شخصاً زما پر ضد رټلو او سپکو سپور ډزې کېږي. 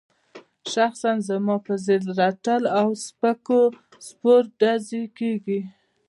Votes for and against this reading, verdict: 1, 2, rejected